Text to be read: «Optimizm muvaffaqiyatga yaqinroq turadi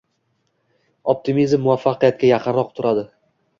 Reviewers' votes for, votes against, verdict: 1, 2, rejected